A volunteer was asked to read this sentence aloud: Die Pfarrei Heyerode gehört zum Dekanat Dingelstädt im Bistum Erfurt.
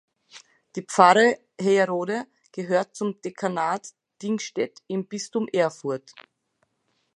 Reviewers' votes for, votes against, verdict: 1, 3, rejected